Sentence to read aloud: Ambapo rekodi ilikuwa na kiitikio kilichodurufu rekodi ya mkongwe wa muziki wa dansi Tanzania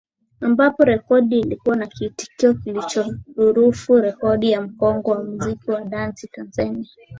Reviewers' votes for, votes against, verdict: 4, 0, accepted